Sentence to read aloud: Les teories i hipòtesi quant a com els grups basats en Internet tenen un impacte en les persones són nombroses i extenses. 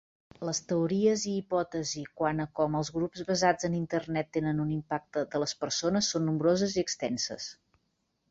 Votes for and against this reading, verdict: 0, 2, rejected